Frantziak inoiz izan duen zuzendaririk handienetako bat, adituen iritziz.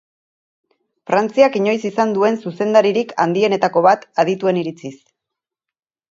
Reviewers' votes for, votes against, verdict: 4, 0, accepted